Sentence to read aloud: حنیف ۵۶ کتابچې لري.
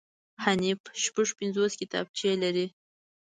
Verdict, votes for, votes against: rejected, 0, 2